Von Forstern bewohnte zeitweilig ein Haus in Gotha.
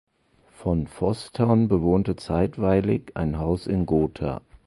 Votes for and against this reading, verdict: 0, 2, rejected